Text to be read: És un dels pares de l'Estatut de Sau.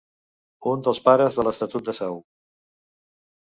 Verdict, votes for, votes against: rejected, 1, 2